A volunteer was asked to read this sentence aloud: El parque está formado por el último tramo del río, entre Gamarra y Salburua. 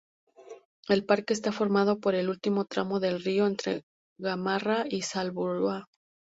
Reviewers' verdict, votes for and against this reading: rejected, 2, 2